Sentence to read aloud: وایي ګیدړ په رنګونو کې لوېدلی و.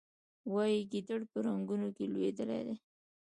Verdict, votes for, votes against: accepted, 2, 0